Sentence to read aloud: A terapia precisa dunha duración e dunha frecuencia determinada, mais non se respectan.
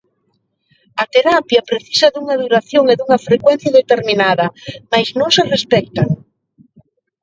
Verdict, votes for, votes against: accepted, 2, 0